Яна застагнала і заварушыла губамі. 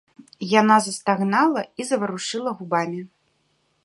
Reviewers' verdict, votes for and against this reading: accepted, 2, 0